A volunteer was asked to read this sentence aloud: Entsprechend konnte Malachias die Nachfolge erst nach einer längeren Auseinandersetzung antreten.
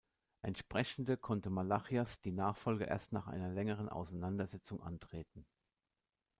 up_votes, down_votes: 0, 2